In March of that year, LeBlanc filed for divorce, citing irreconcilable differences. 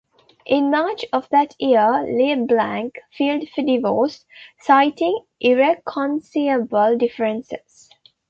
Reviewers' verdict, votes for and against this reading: rejected, 1, 2